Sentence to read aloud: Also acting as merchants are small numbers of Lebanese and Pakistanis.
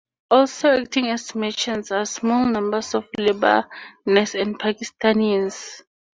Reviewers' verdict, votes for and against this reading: accepted, 4, 0